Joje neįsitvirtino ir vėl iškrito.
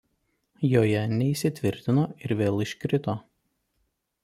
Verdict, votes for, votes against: accepted, 2, 0